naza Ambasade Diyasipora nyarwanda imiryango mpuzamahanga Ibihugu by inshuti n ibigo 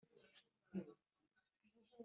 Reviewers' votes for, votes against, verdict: 0, 2, rejected